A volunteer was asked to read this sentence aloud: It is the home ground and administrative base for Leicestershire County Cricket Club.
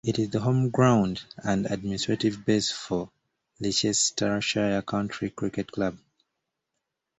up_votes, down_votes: 0, 2